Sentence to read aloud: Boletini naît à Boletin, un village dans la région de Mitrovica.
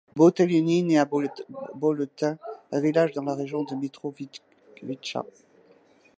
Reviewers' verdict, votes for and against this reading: rejected, 1, 2